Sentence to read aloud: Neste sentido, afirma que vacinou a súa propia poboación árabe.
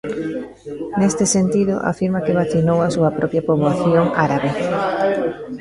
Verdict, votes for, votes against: rejected, 1, 2